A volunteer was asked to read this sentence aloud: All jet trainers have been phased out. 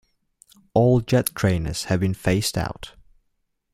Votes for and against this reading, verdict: 2, 0, accepted